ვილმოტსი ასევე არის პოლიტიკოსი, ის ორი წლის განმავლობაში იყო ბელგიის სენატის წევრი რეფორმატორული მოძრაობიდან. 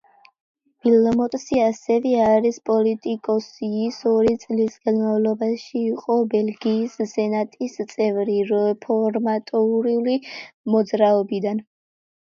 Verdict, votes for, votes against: rejected, 1, 2